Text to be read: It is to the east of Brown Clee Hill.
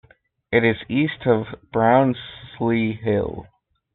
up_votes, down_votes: 0, 2